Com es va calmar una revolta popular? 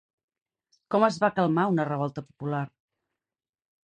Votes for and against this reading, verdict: 2, 0, accepted